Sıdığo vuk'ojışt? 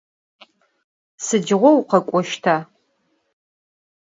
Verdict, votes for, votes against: rejected, 0, 4